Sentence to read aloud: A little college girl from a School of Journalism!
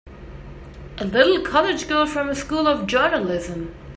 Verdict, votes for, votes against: accepted, 3, 0